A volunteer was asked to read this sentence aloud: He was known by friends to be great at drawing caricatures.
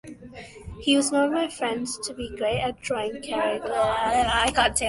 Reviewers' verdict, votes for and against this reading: rejected, 0, 2